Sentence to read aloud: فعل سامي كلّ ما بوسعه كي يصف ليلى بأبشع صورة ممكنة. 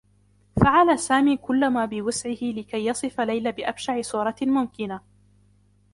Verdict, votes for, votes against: accepted, 2, 0